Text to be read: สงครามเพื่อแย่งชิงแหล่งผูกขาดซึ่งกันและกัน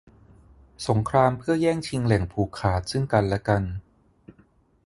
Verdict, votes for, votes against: accepted, 6, 0